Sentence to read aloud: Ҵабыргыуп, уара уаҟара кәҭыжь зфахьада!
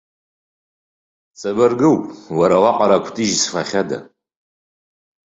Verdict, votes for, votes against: accepted, 2, 0